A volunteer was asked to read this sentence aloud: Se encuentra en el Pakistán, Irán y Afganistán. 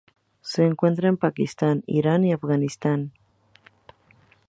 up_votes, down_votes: 0, 2